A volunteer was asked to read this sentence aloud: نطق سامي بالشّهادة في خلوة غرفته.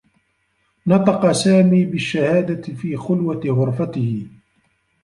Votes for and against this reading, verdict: 1, 2, rejected